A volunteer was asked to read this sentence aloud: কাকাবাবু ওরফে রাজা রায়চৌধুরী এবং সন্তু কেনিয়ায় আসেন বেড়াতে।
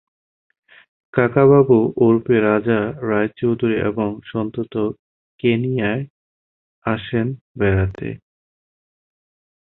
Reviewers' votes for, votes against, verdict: 4, 10, rejected